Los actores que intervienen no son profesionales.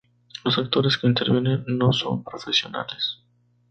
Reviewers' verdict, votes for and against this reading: rejected, 0, 2